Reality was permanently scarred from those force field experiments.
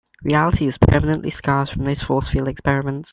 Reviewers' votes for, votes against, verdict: 1, 2, rejected